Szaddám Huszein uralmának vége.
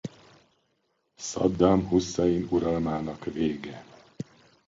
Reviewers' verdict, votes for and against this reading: accepted, 2, 0